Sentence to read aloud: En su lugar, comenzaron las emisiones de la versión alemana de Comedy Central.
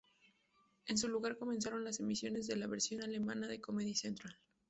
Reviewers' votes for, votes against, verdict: 2, 0, accepted